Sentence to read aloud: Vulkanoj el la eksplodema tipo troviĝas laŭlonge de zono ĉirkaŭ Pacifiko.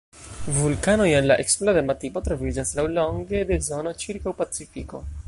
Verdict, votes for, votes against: rejected, 0, 2